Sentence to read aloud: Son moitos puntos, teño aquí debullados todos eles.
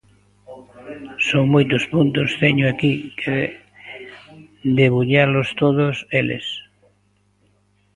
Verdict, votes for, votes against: rejected, 0, 2